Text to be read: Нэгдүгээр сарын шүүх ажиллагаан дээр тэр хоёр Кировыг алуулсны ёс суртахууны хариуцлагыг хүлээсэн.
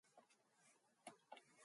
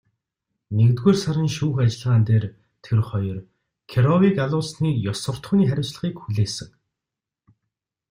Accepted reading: second